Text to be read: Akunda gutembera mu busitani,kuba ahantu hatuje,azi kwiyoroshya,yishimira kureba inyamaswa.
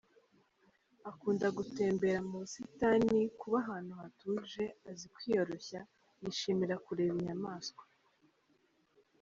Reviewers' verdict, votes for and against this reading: accepted, 2, 1